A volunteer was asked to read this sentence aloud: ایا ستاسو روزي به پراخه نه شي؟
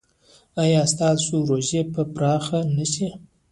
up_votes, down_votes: 1, 2